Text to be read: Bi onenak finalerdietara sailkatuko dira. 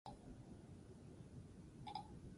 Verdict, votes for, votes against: rejected, 0, 6